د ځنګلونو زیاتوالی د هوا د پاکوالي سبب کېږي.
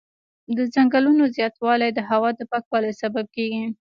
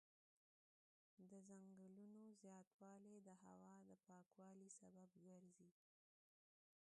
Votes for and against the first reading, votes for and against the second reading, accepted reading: 2, 1, 0, 2, first